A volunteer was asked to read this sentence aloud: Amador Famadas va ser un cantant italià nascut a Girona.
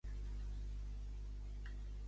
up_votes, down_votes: 0, 2